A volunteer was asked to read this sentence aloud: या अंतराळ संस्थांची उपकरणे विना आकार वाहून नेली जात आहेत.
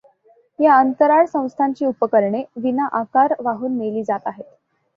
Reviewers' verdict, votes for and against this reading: accepted, 2, 0